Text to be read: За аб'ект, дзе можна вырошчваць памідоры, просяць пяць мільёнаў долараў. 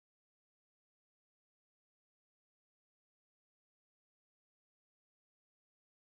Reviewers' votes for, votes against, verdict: 0, 3, rejected